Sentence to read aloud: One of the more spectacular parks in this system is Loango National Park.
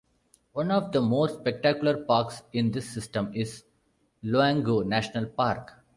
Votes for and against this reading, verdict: 2, 0, accepted